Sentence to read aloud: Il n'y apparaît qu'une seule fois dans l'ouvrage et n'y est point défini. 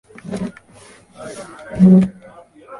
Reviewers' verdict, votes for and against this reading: rejected, 0, 3